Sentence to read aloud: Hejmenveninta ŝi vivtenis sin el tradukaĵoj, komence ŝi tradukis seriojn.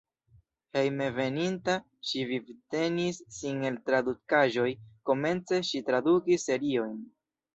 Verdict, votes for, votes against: accepted, 2, 0